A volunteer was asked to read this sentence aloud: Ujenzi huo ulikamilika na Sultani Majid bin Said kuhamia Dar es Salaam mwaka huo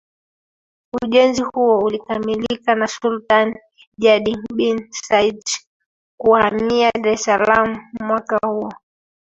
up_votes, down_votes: 1, 2